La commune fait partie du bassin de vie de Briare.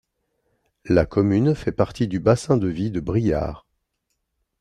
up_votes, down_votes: 2, 0